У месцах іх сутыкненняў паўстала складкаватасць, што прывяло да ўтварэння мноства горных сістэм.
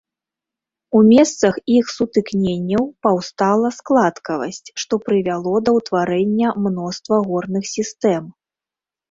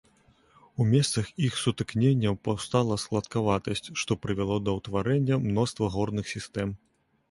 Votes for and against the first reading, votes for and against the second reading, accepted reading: 0, 2, 2, 0, second